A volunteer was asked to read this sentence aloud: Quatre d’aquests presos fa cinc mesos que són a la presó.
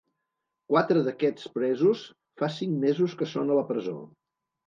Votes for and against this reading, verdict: 3, 0, accepted